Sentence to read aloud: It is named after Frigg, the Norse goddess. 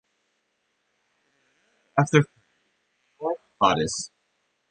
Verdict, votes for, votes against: rejected, 1, 2